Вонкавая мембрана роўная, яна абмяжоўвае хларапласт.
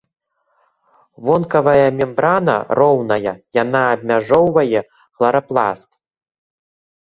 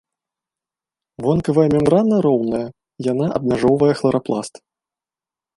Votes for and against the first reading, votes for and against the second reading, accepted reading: 2, 0, 1, 2, first